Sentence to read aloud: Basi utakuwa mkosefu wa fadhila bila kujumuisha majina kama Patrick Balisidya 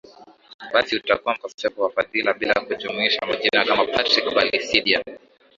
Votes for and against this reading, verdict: 2, 0, accepted